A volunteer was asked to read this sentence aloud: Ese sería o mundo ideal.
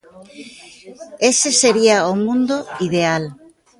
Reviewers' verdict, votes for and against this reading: rejected, 0, 2